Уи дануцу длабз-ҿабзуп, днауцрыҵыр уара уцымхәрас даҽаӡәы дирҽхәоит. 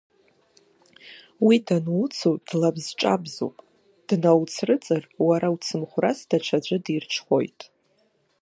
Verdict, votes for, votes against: rejected, 0, 2